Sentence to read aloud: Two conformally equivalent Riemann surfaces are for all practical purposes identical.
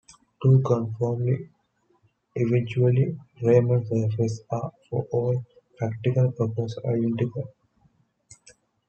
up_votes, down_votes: 2, 1